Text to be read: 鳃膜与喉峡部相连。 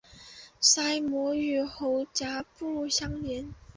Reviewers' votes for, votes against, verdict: 1, 2, rejected